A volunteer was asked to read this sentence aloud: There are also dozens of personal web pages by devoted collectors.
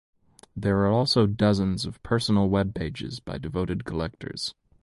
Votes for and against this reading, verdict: 2, 0, accepted